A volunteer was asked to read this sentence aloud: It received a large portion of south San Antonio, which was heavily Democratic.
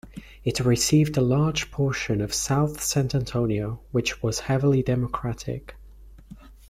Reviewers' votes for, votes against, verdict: 0, 2, rejected